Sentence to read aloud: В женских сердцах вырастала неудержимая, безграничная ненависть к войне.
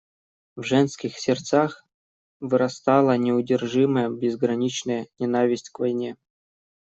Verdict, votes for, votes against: rejected, 0, 2